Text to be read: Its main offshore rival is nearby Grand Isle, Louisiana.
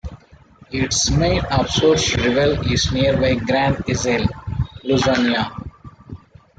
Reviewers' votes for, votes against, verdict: 1, 2, rejected